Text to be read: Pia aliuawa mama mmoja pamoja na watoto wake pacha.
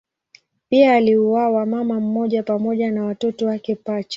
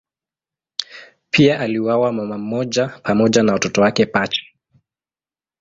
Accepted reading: first